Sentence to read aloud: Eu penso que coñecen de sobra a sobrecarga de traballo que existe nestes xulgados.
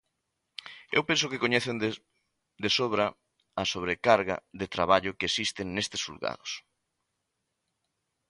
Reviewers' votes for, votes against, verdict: 0, 2, rejected